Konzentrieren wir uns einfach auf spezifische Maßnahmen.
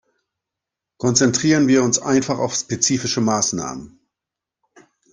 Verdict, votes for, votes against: accepted, 2, 0